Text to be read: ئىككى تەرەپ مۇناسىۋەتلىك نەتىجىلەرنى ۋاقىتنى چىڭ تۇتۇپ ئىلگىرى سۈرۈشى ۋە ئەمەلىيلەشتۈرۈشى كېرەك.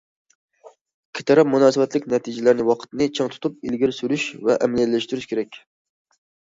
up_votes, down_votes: 0, 2